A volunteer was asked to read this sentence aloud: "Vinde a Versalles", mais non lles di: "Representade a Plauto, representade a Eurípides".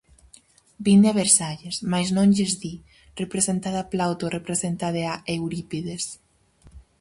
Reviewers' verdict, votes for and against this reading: accepted, 4, 0